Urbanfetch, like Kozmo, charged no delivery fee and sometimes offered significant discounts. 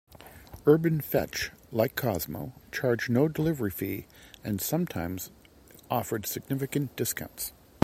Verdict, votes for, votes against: rejected, 1, 2